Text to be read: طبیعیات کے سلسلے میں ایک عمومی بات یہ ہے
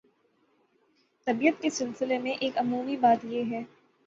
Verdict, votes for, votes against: accepted, 6, 0